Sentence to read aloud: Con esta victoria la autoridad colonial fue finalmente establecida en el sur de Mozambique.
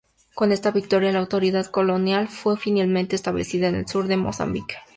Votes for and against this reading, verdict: 2, 0, accepted